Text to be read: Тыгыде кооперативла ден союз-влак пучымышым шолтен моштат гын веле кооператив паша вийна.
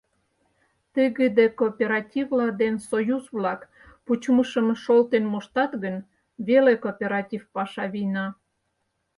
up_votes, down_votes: 4, 0